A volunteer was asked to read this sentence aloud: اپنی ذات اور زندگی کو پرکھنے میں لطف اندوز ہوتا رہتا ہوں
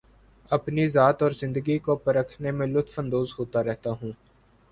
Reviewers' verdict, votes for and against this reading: accepted, 5, 1